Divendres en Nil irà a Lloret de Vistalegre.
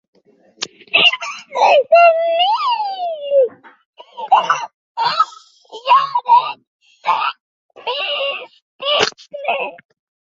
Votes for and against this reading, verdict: 0, 2, rejected